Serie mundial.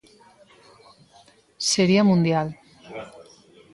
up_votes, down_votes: 1, 2